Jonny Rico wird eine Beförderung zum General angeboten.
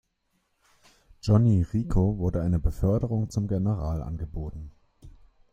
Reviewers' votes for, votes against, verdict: 0, 2, rejected